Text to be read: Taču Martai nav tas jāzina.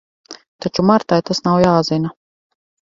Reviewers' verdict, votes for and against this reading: rejected, 2, 4